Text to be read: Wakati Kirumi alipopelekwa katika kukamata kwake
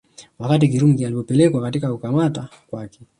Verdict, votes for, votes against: accepted, 2, 0